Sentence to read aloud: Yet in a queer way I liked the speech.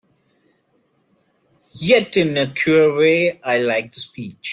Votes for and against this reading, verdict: 0, 2, rejected